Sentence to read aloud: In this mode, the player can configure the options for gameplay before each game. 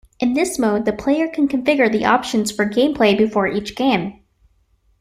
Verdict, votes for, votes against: accepted, 2, 0